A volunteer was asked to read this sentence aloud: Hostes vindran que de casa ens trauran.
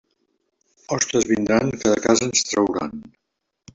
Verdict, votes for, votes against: accepted, 2, 0